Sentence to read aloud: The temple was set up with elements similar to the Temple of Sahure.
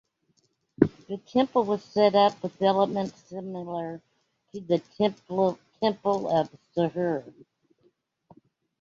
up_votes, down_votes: 1, 2